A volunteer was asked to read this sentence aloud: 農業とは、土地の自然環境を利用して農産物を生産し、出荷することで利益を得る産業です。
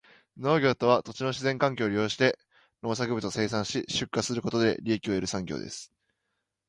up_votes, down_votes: 2, 0